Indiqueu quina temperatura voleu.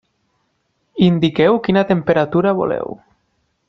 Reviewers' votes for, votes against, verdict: 3, 1, accepted